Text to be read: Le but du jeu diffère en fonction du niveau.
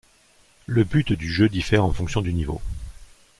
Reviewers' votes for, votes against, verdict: 2, 0, accepted